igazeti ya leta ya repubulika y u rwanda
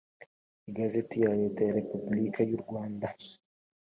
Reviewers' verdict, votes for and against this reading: accepted, 2, 0